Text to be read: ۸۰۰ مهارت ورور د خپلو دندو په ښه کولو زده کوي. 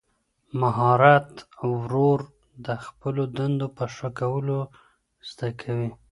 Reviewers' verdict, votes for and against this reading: rejected, 0, 2